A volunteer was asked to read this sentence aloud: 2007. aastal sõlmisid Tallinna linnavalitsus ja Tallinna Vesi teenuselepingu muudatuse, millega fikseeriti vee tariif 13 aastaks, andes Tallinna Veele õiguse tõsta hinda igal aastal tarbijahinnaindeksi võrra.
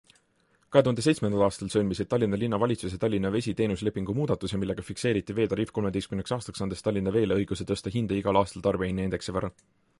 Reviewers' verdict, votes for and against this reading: rejected, 0, 2